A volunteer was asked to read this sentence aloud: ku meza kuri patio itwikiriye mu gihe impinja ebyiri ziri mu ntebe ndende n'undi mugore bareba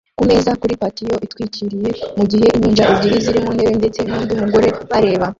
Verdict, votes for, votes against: rejected, 0, 2